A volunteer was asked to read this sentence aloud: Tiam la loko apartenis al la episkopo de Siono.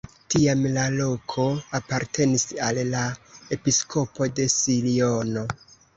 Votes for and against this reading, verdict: 2, 0, accepted